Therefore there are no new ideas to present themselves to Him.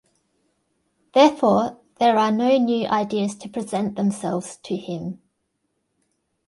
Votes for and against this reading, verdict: 2, 0, accepted